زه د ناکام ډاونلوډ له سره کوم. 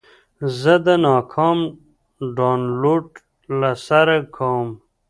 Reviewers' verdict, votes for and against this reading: accepted, 2, 0